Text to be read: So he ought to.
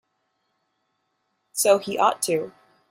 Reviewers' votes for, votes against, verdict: 2, 0, accepted